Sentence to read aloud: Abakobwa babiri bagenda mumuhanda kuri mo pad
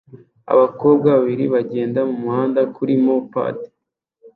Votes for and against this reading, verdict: 2, 0, accepted